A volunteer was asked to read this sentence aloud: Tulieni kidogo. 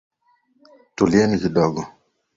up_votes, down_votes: 4, 0